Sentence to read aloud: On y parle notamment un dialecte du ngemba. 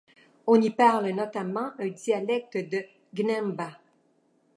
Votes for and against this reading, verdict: 1, 2, rejected